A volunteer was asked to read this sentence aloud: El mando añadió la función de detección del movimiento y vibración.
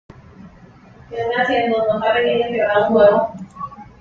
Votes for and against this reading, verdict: 0, 2, rejected